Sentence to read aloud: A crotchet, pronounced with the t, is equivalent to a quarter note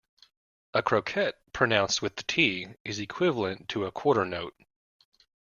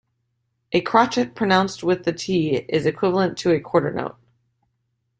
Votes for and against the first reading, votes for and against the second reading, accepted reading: 1, 2, 2, 0, second